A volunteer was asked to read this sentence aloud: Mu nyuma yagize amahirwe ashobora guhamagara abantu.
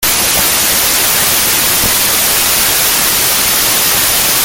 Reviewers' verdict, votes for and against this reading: rejected, 0, 2